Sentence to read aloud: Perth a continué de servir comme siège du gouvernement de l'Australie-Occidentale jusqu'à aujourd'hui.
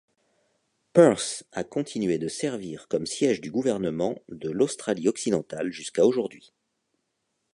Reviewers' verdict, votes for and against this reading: accepted, 2, 0